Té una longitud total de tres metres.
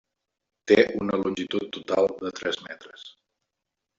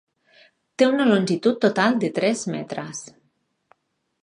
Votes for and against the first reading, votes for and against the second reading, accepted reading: 1, 2, 6, 0, second